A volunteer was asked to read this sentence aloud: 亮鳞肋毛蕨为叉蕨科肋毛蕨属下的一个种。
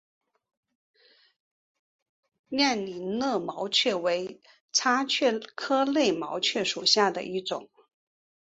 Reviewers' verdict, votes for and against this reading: accepted, 7, 3